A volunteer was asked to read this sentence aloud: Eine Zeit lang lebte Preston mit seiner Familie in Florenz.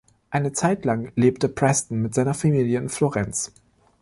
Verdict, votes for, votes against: rejected, 1, 2